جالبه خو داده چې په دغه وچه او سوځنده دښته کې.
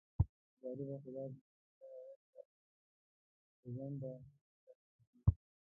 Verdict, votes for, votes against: rejected, 1, 2